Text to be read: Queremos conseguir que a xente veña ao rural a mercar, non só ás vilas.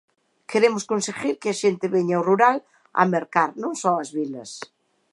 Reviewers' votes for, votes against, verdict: 2, 0, accepted